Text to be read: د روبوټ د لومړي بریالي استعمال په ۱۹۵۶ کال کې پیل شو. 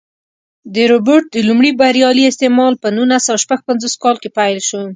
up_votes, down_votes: 0, 2